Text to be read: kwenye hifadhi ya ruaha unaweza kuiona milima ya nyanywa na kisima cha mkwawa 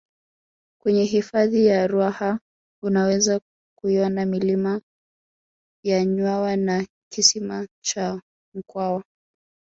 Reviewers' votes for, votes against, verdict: 0, 2, rejected